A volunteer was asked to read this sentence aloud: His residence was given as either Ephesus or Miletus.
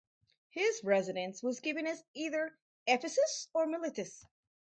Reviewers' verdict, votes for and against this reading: accepted, 2, 0